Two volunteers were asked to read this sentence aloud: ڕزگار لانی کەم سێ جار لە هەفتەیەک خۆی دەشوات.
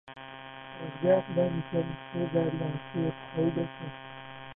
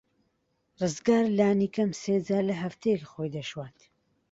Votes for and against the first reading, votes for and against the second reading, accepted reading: 0, 2, 2, 0, second